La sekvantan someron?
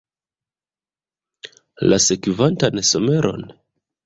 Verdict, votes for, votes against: accepted, 2, 1